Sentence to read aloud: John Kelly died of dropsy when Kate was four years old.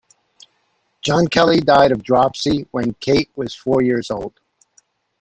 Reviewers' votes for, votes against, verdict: 2, 0, accepted